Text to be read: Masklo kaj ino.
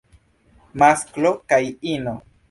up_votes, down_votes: 1, 2